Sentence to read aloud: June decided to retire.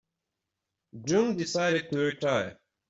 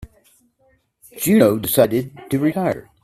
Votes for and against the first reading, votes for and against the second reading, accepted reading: 2, 0, 0, 2, first